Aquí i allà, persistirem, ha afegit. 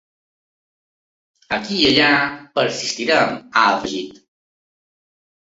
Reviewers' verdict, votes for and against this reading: rejected, 0, 2